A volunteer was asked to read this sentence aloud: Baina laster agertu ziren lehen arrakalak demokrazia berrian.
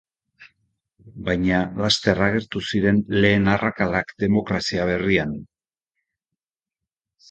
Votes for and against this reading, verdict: 2, 0, accepted